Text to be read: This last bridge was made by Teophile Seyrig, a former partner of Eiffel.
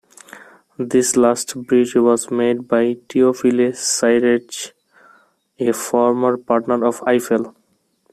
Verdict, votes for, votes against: rejected, 1, 2